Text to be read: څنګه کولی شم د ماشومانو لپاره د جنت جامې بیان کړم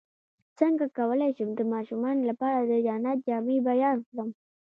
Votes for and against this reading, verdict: 1, 2, rejected